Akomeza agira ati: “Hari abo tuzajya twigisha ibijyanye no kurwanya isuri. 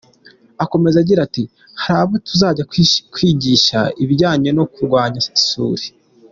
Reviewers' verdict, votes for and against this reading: rejected, 0, 2